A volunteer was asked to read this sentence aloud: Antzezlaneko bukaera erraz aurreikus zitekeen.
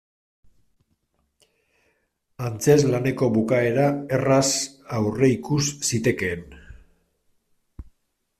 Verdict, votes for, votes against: accepted, 2, 0